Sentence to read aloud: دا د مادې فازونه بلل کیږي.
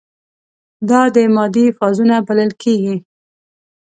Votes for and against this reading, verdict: 2, 0, accepted